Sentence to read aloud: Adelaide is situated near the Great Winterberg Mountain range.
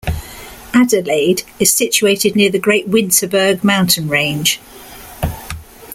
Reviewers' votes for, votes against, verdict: 2, 0, accepted